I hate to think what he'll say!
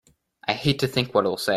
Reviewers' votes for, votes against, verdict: 1, 2, rejected